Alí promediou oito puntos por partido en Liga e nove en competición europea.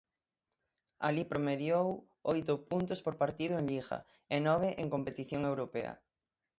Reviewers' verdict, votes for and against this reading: accepted, 6, 0